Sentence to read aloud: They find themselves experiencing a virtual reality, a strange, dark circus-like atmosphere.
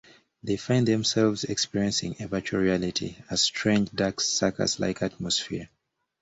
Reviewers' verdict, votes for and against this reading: accepted, 2, 0